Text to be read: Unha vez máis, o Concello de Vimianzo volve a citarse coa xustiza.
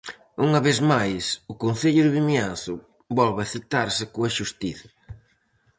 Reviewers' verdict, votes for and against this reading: accepted, 4, 0